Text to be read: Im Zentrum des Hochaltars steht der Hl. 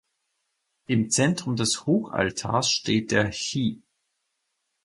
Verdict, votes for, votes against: rejected, 2, 4